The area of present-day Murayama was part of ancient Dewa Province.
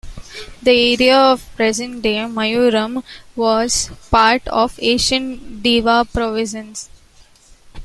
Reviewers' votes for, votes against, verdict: 0, 2, rejected